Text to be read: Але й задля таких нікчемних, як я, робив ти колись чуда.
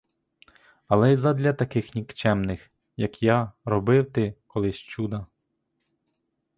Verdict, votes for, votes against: accepted, 2, 0